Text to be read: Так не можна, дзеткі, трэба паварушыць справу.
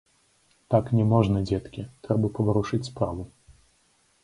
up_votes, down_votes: 2, 0